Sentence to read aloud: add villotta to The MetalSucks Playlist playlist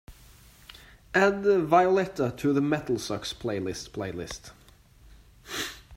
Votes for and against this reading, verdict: 2, 0, accepted